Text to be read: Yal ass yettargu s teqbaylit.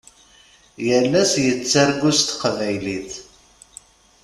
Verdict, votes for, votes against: accepted, 2, 0